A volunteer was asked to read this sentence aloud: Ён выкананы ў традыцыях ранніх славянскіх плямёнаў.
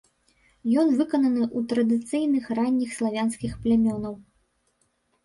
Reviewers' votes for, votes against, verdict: 1, 2, rejected